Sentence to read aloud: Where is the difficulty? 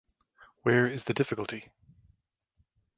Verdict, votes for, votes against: accepted, 2, 0